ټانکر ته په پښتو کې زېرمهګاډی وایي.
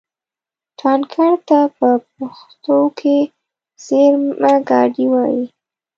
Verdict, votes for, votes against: rejected, 1, 2